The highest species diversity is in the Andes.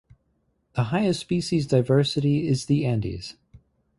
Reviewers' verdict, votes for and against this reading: rejected, 0, 4